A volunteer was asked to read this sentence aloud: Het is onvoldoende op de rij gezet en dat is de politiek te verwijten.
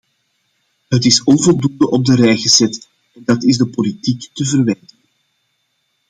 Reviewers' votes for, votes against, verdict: 0, 2, rejected